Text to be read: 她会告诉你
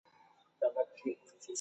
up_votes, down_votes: 0, 2